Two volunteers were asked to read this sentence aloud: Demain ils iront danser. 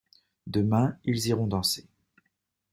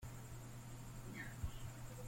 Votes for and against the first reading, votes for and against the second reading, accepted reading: 2, 0, 0, 2, first